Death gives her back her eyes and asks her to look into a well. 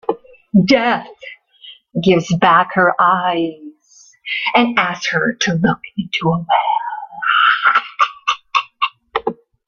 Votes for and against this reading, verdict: 0, 2, rejected